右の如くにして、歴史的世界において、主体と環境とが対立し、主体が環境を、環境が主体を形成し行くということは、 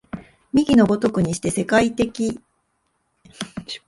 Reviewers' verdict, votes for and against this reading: rejected, 0, 2